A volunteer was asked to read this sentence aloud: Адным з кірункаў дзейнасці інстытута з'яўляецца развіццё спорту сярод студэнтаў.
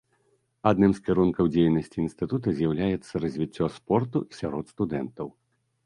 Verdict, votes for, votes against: accepted, 2, 0